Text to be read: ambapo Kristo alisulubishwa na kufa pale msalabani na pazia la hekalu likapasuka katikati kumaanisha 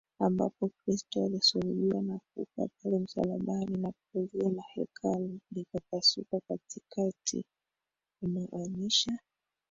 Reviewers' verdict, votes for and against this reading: rejected, 1, 2